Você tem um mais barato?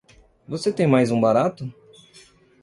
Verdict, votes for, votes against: rejected, 1, 2